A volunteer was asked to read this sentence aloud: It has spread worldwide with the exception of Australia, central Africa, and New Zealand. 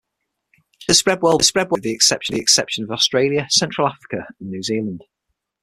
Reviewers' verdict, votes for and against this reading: rejected, 3, 6